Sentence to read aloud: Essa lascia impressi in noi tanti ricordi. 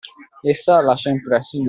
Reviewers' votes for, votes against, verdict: 0, 2, rejected